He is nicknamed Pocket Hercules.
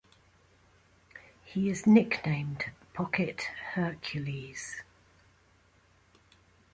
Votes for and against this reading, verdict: 0, 2, rejected